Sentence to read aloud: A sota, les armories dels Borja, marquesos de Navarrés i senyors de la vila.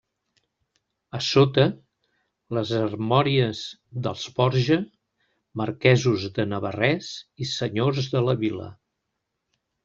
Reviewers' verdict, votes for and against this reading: rejected, 0, 2